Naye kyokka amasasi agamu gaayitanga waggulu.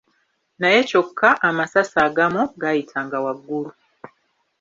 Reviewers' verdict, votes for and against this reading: rejected, 1, 2